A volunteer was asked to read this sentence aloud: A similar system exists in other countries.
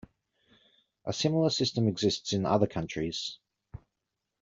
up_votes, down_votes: 2, 0